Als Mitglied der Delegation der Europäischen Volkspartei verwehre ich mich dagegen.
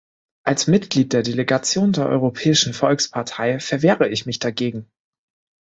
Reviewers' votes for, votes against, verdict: 2, 0, accepted